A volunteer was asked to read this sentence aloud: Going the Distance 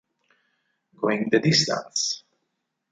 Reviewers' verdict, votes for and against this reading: accepted, 6, 0